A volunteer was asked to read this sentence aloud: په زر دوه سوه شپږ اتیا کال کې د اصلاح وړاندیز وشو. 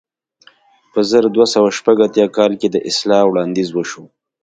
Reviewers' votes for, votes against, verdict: 2, 0, accepted